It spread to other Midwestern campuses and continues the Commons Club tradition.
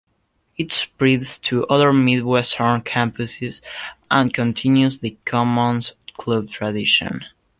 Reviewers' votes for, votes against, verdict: 1, 2, rejected